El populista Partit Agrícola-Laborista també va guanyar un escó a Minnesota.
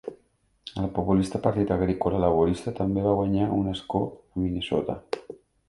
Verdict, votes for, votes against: rejected, 1, 2